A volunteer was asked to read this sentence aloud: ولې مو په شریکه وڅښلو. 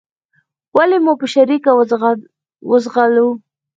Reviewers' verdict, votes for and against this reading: rejected, 2, 4